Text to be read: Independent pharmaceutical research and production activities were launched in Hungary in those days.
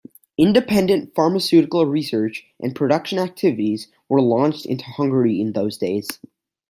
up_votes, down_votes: 0, 2